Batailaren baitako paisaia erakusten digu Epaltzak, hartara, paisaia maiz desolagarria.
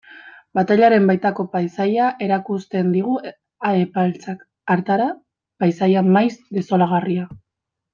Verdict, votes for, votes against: rejected, 0, 2